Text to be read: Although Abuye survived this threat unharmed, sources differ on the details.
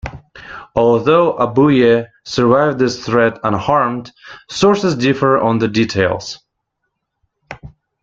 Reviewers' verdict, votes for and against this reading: accepted, 2, 0